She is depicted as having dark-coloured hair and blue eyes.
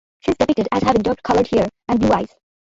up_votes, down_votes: 0, 2